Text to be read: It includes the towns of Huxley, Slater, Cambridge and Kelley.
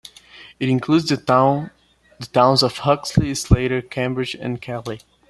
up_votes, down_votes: 2, 0